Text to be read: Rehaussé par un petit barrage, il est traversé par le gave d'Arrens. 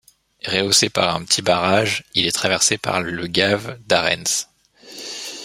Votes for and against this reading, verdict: 2, 1, accepted